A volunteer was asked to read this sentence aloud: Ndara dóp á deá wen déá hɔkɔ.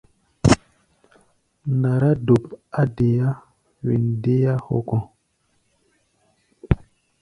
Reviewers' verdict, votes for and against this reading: rejected, 0, 2